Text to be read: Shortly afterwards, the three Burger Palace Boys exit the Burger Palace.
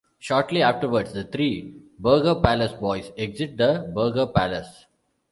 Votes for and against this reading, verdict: 2, 0, accepted